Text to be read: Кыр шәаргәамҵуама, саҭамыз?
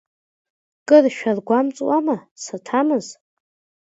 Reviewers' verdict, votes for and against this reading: accepted, 2, 0